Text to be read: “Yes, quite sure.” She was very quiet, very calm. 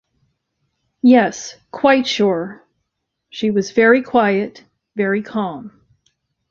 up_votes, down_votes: 2, 0